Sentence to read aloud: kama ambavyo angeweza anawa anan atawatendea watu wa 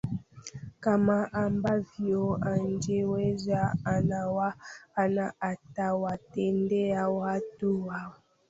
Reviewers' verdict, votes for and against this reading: rejected, 0, 2